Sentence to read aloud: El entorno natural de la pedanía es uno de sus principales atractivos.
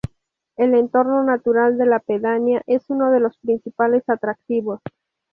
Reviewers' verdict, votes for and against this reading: rejected, 0, 2